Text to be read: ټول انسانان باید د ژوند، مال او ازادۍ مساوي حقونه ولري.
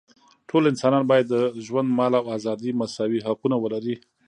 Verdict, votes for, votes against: accepted, 2, 0